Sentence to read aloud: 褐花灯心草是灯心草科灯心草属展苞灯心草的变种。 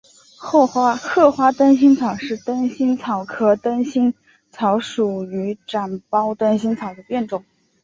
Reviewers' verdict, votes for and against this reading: rejected, 1, 2